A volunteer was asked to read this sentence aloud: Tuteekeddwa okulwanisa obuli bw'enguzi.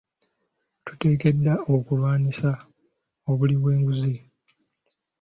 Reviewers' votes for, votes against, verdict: 2, 0, accepted